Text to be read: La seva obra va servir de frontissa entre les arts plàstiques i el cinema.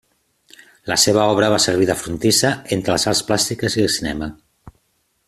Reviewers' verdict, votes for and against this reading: accepted, 3, 0